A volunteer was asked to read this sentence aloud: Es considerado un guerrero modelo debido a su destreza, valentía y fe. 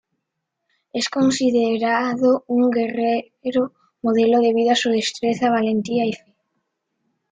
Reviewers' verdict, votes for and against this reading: rejected, 0, 2